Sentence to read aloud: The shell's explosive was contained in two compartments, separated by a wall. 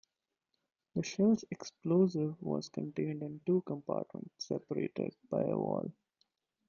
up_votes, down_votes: 1, 2